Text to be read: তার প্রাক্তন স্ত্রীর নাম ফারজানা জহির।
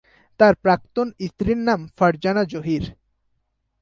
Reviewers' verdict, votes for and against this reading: accepted, 2, 0